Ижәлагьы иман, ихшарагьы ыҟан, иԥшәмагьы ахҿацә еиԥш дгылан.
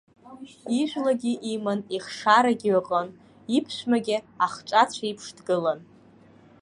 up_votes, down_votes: 2, 0